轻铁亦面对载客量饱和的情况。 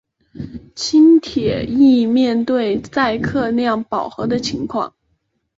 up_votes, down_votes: 3, 0